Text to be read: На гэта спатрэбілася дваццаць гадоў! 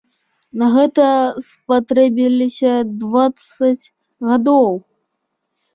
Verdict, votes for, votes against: accepted, 2, 0